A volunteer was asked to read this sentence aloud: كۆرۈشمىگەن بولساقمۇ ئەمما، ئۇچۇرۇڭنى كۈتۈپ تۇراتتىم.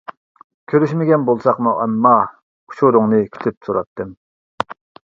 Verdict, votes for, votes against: accepted, 2, 0